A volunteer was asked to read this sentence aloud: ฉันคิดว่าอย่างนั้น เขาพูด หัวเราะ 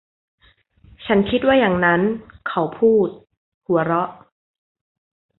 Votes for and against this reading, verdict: 2, 0, accepted